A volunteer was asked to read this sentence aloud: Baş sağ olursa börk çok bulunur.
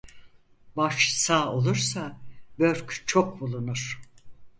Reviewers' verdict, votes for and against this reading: accepted, 4, 0